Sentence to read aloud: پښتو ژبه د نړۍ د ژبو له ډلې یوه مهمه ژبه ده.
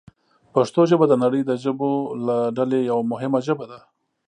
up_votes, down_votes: 3, 0